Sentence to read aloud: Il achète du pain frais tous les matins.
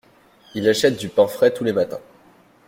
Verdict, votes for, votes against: accepted, 2, 0